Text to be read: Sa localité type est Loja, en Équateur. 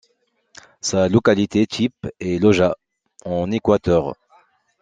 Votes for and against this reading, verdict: 2, 0, accepted